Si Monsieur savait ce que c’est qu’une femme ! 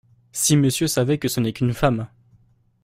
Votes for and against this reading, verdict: 1, 2, rejected